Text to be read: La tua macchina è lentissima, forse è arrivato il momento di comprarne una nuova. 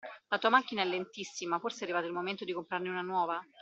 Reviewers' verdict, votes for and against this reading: accepted, 2, 0